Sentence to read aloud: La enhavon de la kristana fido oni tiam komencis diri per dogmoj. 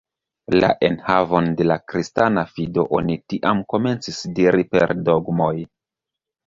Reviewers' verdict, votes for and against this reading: rejected, 0, 2